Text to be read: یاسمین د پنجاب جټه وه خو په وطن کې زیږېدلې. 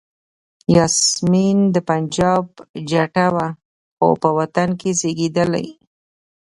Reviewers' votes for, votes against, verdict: 2, 0, accepted